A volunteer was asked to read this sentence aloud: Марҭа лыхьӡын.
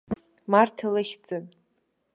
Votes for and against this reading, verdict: 2, 0, accepted